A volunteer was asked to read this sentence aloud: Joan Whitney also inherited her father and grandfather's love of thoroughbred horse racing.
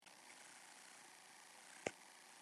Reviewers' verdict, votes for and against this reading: rejected, 0, 2